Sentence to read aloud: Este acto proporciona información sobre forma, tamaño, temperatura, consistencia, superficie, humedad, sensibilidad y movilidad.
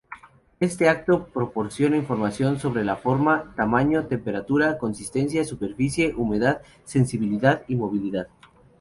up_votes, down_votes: 0, 2